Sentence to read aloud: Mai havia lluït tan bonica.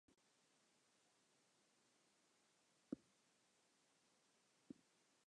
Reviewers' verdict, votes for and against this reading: rejected, 0, 2